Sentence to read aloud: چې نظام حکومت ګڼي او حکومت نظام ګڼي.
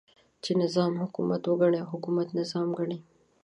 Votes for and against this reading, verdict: 1, 2, rejected